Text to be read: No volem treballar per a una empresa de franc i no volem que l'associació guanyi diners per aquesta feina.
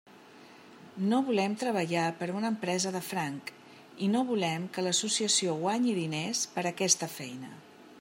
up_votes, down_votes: 2, 0